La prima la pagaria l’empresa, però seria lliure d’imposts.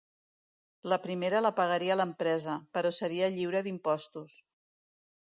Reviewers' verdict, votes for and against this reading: rejected, 1, 2